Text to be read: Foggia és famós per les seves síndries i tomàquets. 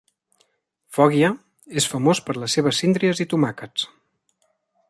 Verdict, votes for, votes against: accepted, 2, 0